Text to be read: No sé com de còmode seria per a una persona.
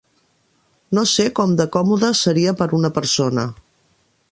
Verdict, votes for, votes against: rejected, 0, 2